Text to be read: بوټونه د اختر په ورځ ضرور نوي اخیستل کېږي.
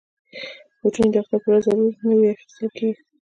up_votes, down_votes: 1, 2